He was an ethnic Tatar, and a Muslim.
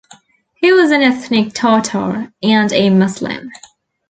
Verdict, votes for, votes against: accepted, 2, 0